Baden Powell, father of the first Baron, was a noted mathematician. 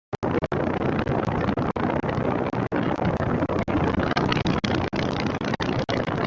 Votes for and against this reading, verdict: 0, 2, rejected